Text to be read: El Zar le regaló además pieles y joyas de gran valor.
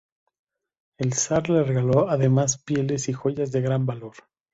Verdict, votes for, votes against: accepted, 2, 0